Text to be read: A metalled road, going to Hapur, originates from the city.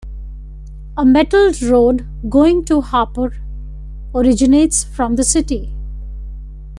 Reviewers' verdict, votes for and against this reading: accepted, 2, 0